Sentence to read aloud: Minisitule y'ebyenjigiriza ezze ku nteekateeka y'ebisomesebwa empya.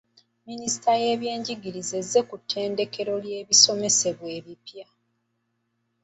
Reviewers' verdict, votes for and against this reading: accepted, 2, 0